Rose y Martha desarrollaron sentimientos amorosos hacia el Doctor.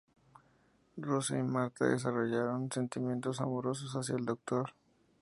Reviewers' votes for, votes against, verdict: 0, 2, rejected